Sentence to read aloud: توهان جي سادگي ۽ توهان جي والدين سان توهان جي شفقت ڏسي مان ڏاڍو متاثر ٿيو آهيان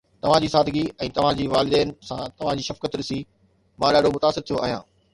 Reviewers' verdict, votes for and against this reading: accepted, 2, 0